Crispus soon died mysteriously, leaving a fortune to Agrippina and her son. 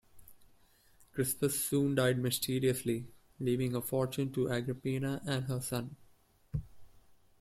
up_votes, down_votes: 2, 0